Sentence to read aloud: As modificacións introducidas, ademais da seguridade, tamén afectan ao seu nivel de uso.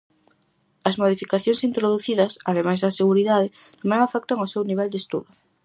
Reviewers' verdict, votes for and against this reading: rejected, 0, 4